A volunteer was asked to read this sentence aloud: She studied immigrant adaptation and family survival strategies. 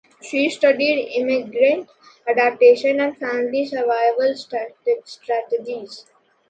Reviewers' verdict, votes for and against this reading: rejected, 1, 2